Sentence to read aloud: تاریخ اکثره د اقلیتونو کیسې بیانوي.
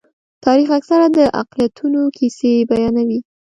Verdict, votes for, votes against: accepted, 2, 0